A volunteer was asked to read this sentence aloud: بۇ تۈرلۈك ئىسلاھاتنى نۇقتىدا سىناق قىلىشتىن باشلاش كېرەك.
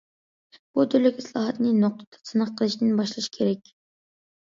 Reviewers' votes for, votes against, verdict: 0, 2, rejected